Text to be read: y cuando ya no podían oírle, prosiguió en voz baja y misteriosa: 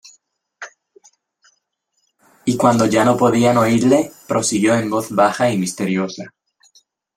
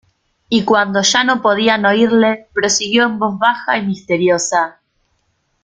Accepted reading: first